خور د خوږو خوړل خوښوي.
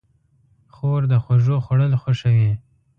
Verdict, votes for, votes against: accepted, 2, 0